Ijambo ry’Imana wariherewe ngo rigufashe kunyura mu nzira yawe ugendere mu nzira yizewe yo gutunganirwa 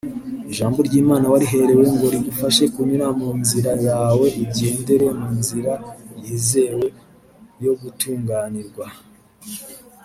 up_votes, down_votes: 0, 2